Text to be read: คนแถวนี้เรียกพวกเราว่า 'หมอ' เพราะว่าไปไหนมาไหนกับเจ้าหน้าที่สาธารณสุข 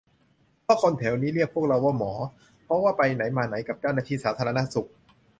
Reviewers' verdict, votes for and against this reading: rejected, 0, 2